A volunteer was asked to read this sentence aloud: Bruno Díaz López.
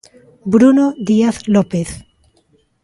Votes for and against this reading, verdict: 2, 0, accepted